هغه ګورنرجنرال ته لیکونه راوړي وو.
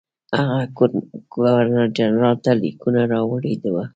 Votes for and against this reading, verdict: 2, 0, accepted